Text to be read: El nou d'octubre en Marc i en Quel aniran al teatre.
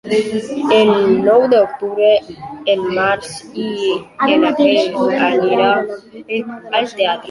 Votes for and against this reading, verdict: 0, 2, rejected